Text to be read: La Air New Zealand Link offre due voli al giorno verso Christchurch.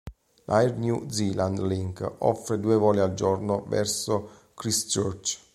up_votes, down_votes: 2, 0